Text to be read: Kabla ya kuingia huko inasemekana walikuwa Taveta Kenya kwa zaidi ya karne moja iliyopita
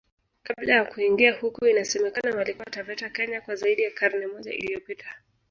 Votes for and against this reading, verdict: 0, 2, rejected